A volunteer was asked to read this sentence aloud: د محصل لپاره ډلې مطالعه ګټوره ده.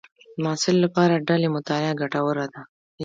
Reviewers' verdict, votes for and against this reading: accepted, 2, 1